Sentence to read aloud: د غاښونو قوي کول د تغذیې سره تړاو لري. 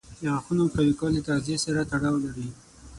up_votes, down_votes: 0, 6